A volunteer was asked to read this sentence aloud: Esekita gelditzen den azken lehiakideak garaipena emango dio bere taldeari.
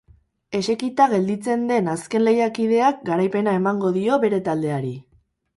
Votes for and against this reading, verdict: 2, 2, rejected